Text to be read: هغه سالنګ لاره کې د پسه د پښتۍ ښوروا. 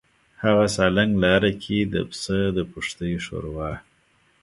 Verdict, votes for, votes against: accepted, 2, 0